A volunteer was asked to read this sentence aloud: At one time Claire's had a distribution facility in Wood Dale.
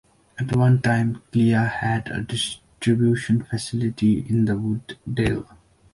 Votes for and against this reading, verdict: 0, 2, rejected